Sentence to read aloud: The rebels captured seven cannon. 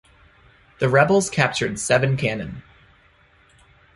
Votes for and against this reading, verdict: 2, 0, accepted